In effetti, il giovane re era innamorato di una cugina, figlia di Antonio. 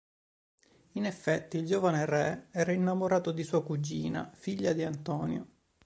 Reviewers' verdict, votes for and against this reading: rejected, 1, 3